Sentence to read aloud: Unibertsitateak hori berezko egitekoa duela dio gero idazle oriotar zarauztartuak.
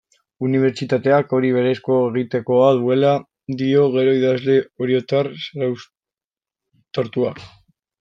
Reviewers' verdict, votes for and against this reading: rejected, 1, 2